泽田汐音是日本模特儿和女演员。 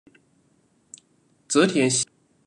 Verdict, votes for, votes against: rejected, 0, 2